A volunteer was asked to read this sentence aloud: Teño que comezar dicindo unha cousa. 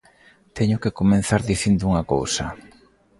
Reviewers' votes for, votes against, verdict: 0, 2, rejected